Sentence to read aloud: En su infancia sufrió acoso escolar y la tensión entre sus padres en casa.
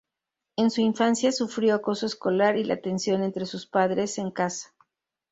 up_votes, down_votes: 0, 2